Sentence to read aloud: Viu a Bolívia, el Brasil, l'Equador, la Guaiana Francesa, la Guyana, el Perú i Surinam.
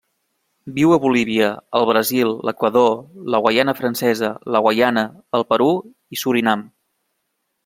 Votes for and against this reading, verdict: 1, 2, rejected